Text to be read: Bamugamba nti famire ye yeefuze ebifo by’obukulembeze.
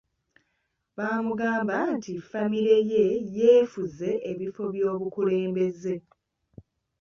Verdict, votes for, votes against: accepted, 3, 0